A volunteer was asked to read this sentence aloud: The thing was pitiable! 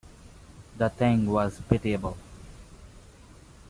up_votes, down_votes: 2, 1